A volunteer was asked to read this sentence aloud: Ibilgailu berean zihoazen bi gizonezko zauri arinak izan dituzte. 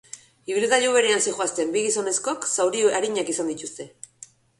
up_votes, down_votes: 1, 2